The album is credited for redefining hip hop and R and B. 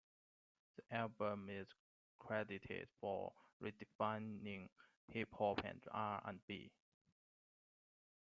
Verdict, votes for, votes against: accepted, 2, 0